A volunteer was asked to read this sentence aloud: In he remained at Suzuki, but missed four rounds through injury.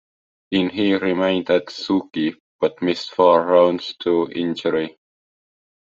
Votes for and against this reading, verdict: 2, 1, accepted